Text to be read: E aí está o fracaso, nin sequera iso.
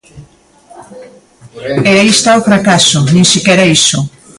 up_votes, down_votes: 2, 0